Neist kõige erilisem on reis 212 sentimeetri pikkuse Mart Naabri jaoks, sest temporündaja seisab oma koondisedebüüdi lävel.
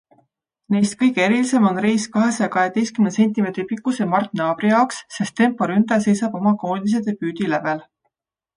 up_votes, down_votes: 0, 2